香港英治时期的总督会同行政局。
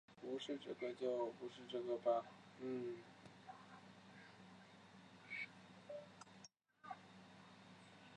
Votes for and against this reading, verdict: 0, 4, rejected